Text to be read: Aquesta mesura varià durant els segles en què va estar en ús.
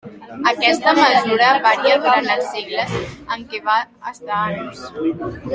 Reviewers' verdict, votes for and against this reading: rejected, 1, 2